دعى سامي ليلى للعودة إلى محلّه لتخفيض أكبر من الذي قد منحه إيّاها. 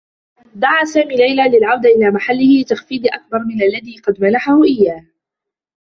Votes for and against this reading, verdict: 1, 2, rejected